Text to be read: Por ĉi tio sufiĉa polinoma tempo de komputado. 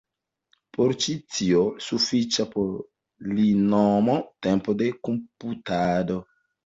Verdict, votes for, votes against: accepted, 2, 1